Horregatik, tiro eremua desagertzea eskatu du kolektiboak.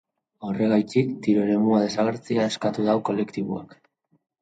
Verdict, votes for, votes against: accepted, 3, 0